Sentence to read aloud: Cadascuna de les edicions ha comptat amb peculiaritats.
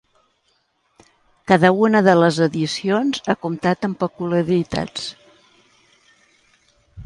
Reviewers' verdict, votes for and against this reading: rejected, 0, 2